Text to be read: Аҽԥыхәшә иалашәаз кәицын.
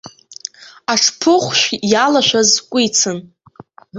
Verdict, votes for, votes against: rejected, 0, 2